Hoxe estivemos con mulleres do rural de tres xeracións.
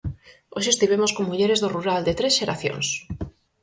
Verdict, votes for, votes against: accepted, 4, 0